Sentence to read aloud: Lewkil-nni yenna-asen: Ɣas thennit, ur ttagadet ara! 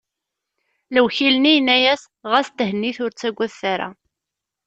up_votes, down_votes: 0, 2